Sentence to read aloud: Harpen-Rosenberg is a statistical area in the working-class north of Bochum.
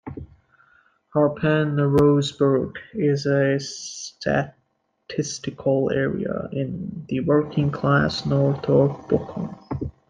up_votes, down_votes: 1, 2